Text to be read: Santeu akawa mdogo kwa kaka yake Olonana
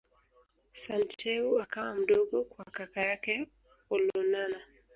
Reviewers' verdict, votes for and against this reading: rejected, 0, 2